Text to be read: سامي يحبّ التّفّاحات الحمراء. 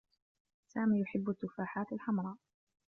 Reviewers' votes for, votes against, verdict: 1, 2, rejected